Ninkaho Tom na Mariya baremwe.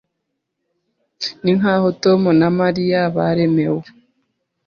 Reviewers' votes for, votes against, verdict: 0, 2, rejected